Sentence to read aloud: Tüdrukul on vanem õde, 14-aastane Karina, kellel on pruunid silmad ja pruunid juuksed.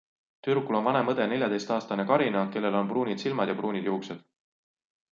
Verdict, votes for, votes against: rejected, 0, 2